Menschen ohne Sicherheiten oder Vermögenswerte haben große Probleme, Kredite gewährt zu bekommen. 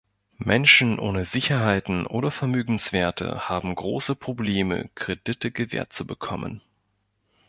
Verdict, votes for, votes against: accepted, 2, 0